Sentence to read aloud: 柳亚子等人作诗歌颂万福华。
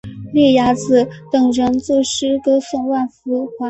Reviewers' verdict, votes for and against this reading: rejected, 2, 3